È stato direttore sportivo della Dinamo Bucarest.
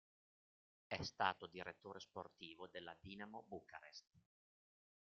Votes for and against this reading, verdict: 2, 0, accepted